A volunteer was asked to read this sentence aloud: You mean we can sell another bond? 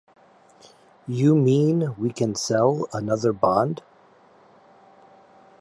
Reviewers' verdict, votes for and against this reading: accepted, 2, 0